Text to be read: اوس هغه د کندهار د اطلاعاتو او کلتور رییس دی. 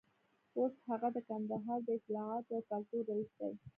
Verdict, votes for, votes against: accepted, 2, 1